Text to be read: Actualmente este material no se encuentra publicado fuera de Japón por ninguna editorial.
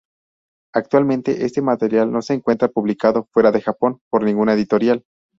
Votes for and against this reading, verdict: 0, 2, rejected